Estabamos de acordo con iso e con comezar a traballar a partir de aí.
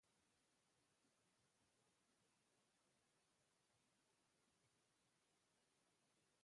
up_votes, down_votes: 0, 2